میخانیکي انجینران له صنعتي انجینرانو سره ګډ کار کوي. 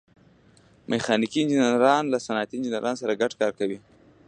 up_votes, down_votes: 2, 0